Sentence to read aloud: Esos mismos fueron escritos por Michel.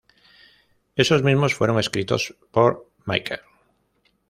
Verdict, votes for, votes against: accepted, 2, 0